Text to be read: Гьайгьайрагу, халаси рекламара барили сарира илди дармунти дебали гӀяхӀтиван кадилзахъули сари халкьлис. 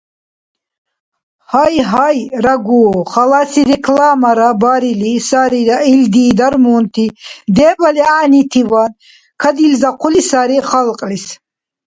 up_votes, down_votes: 0, 2